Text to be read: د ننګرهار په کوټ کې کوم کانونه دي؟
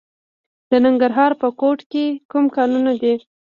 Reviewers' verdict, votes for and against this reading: rejected, 1, 2